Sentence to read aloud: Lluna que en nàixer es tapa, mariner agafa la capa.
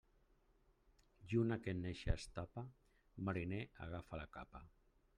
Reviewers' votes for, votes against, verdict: 1, 2, rejected